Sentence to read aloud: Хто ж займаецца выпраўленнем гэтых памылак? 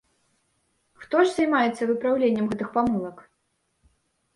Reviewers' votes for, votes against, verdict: 2, 0, accepted